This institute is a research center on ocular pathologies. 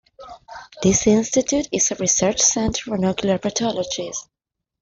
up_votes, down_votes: 2, 1